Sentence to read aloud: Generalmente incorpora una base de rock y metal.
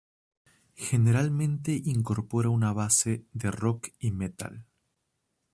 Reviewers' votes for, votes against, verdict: 2, 0, accepted